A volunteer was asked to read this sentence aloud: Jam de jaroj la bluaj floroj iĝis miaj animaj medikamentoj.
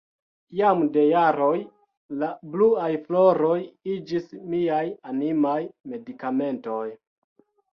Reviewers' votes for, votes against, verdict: 2, 0, accepted